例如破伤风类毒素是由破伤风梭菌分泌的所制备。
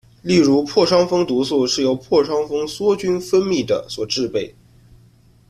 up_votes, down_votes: 1, 2